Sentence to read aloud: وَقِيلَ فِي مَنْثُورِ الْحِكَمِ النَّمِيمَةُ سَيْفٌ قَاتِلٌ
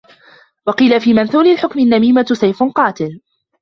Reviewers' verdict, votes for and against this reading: rejected, 0, 2